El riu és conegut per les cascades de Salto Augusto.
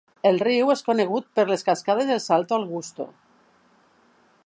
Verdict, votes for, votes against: rejected, 0, 2